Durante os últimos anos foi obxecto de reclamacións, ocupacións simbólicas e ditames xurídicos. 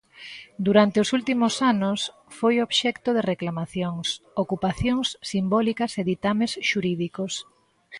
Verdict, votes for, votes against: accepted, 2, 0